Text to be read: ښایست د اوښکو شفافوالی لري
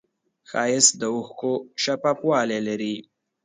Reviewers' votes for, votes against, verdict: 2, 0, accepted